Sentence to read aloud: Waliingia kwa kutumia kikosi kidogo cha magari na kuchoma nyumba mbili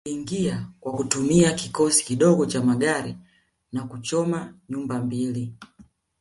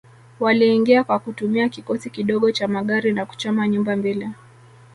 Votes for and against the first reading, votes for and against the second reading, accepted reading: 2, 0, 1, 2, first